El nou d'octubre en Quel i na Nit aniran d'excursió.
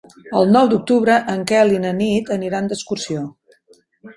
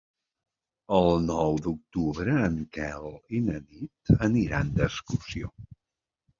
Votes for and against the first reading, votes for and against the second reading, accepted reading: 4, 0, 1, 2, first